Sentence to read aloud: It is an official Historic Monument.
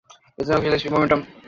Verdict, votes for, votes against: rejected, 0, 2